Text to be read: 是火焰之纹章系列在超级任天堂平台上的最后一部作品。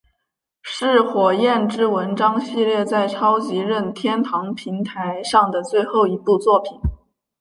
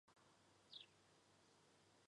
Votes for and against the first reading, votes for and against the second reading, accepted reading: 5, 0, 2, 4, first